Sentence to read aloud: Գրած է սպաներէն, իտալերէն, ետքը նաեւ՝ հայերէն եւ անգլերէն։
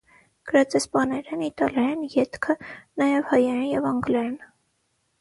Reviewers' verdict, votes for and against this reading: rejected, 0, 6